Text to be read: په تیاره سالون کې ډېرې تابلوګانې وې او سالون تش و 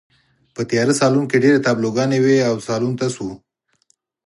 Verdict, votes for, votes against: accepted, 6, 0